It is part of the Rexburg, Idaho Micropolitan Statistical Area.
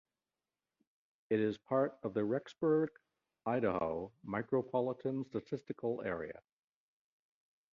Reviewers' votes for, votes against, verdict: 2, 0, accepted